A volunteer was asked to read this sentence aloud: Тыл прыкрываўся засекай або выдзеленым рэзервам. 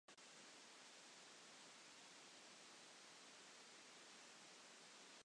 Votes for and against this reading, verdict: 0, 2, rejected